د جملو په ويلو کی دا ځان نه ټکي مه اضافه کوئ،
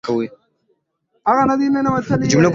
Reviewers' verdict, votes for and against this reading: rejected, 0, 2